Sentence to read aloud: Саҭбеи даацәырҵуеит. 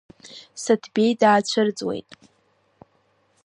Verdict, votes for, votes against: rejected, 0, 2